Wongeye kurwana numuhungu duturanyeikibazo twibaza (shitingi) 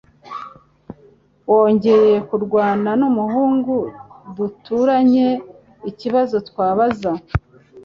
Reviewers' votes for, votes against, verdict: 1, 2, rejected